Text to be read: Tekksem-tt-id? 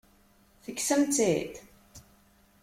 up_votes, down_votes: 2, 0